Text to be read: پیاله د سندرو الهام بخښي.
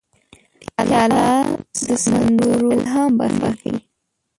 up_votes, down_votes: 0, 2